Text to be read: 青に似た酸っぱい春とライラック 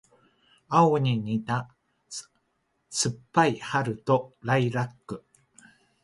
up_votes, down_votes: 0, 2